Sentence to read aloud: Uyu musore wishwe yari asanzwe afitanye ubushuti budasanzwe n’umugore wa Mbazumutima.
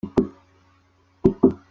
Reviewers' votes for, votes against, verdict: 0, 2, rejected